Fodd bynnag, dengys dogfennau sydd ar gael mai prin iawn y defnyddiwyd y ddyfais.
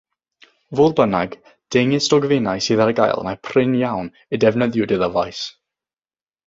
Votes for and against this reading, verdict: 0, 6, rejected